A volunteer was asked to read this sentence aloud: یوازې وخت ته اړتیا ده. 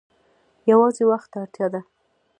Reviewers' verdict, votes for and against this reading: rejected, 1, 2